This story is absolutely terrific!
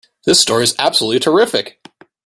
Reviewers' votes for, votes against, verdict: 2, 0, accepted